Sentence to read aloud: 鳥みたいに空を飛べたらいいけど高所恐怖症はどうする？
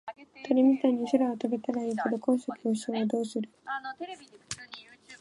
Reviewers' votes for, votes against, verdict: 0, 2, rejected